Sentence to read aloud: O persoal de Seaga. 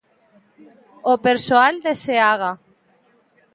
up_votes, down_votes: 2, 0